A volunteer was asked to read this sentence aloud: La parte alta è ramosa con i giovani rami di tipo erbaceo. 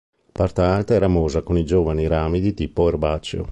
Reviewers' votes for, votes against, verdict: 0, 2, rejected